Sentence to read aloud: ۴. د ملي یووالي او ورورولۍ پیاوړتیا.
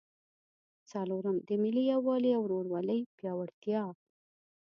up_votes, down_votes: 0, 2